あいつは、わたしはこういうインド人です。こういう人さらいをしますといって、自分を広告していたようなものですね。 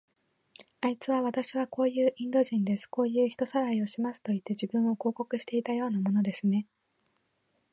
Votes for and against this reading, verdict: 2, 1, accepted